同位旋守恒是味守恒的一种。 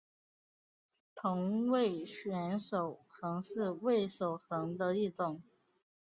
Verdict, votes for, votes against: accepted, 4, 0